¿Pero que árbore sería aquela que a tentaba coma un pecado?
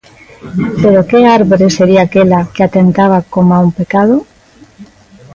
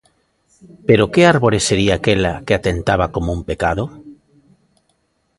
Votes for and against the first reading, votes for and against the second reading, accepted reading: 2, 0, 0, 2, first